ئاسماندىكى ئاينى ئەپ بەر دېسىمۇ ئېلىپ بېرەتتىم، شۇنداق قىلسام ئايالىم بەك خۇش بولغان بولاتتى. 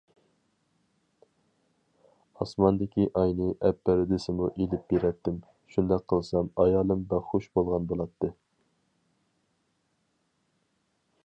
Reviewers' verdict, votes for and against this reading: accepted, 4, 0